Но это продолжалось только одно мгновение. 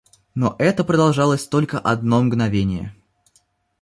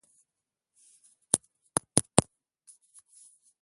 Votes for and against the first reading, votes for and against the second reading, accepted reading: 2, 0, 0, 2, first